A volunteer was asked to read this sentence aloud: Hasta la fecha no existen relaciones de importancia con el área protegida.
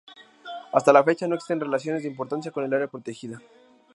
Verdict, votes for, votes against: accepted, 2, 0